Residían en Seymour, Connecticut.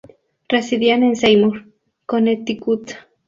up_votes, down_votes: 2, 0